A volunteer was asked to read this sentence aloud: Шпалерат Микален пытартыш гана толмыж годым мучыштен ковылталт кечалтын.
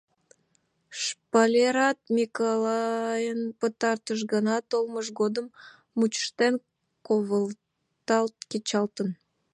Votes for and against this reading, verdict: 0, 2, rejected